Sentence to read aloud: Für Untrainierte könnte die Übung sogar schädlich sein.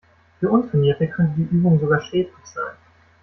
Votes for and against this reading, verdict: 2, 0, accepted